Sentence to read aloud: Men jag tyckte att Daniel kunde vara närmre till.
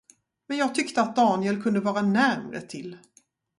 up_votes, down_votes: 2, 0